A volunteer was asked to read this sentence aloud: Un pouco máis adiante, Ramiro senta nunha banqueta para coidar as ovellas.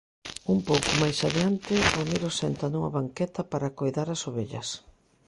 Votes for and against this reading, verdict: 2, 1, accepted